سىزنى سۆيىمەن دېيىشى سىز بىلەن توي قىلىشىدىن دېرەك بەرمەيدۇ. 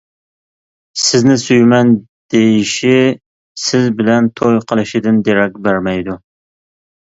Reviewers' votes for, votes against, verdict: 2, 0, accepted